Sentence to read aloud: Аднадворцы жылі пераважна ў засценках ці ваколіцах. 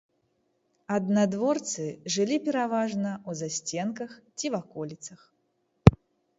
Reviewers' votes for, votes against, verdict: 1, 2, rejected